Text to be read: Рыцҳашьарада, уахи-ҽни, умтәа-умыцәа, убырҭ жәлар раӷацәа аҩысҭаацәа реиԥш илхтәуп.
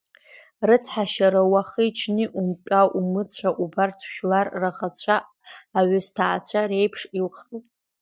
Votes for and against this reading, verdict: 2, 0, accepted